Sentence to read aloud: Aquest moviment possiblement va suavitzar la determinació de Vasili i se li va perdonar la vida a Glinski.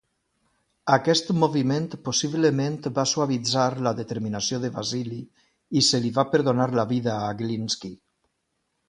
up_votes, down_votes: 2, 0